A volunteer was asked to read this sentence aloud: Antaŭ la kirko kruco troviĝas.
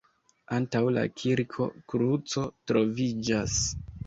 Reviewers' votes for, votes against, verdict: 2, 1, accepted